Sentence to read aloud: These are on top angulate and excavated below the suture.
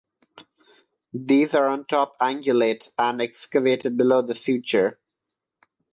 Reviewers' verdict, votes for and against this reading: rejected, 0, 3